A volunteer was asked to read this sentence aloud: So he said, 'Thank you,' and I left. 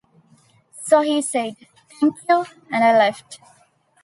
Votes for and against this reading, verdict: 1, 2, rejected